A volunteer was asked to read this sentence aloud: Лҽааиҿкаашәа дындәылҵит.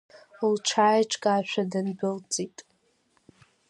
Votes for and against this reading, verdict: 2, 0, accepted